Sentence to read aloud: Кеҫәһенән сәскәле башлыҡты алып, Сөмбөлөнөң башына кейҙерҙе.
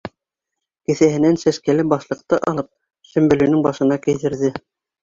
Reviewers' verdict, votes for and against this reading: accepted, 2, 0